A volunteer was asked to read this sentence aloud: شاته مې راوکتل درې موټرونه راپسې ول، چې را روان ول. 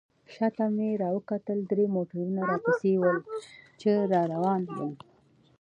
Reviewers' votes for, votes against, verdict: 2, 1, accepted